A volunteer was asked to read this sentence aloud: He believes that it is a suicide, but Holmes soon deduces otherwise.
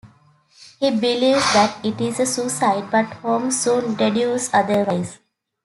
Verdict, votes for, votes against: rejected, 0, 2